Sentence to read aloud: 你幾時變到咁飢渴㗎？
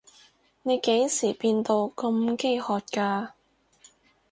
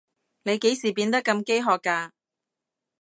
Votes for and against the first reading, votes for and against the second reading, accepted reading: 6, 0, 0, 2, first